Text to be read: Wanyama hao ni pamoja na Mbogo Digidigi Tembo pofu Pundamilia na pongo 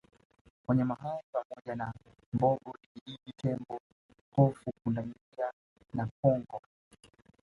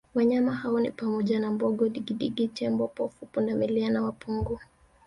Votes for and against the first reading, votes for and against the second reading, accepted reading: 1, 2, 2, 0, second